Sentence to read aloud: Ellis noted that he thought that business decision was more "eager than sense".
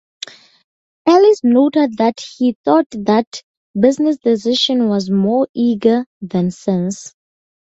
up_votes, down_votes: 4, 0